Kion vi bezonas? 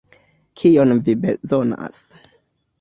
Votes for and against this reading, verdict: 2, 0, accepted